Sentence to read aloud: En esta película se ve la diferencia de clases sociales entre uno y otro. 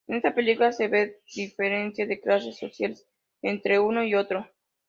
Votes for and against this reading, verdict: 1, 5, rejected